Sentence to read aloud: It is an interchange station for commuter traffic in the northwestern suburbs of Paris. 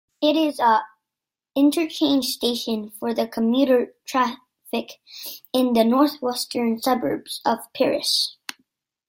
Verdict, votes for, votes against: rejected, 1, 2